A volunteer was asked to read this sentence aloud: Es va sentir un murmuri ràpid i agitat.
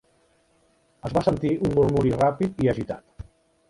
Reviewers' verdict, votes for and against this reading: rejected, 0, 2